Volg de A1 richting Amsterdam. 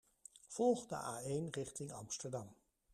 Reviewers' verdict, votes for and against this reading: rejected, 0, 2